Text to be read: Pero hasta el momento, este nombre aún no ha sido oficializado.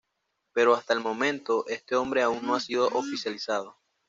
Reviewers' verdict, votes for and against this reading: accepted, 2, 0